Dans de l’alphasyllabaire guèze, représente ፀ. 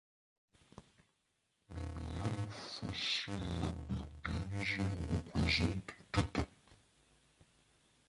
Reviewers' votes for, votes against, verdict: 0, 2, rejected